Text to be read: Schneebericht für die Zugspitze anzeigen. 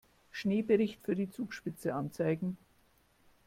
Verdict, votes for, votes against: accepted, 2, 0